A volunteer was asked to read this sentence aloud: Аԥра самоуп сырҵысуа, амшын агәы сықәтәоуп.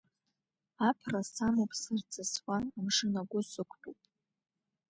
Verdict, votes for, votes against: accepted, 2, 0